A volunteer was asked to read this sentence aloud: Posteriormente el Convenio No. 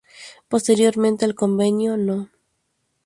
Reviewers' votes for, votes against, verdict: 0, 2, rejected